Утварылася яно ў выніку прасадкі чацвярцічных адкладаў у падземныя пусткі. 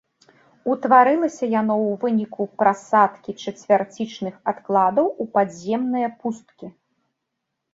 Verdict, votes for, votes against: accepted, 2, 1